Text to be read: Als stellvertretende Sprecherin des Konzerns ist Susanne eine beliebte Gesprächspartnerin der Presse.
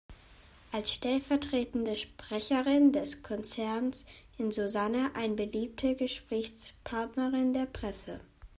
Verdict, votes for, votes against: rejected, 0, 2